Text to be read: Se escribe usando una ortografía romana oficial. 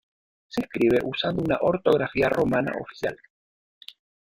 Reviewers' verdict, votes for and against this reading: rejected, 1, 2